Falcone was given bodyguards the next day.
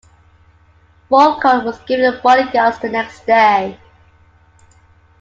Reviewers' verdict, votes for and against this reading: accepted, 2, 1